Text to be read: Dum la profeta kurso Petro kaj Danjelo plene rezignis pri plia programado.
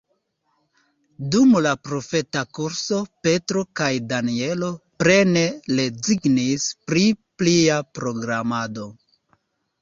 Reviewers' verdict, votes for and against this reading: rejected, 1, 2